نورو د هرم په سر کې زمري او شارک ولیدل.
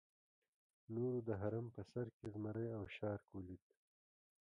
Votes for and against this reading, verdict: 0, 2, rejected